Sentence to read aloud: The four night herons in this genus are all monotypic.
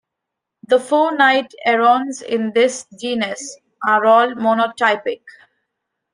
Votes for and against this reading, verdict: 2, 0, accepted